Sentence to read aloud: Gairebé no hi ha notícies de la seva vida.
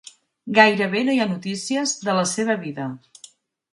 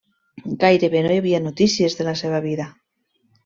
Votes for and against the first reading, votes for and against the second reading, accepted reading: 4, 0, 0, 2, first